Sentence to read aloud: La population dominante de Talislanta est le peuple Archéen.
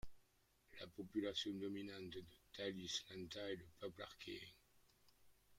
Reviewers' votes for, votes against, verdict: 0, 2, rejected